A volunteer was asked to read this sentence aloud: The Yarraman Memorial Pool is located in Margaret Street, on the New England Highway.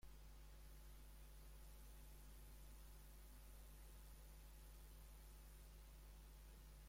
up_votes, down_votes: 0, 2